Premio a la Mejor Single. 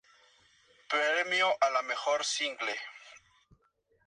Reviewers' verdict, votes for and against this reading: accepted, 2, 0